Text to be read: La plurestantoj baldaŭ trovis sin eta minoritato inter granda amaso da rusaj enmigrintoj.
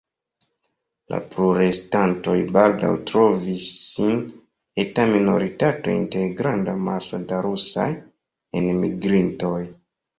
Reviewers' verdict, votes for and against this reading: accepted, 2, 0